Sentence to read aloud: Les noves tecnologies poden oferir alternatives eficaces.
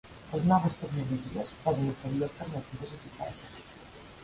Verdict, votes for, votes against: rejected, 0, 2